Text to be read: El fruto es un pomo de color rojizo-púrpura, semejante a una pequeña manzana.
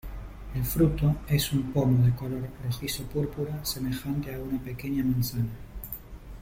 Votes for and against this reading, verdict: 0, 3, rejected